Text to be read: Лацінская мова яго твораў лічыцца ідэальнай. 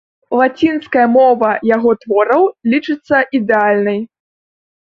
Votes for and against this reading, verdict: 2, 0, accepted